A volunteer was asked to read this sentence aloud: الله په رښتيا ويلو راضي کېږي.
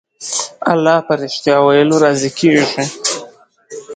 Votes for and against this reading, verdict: 10, 0, accepted